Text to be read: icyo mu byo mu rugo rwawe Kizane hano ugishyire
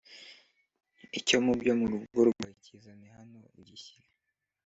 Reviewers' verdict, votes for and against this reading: accepted, 3, 1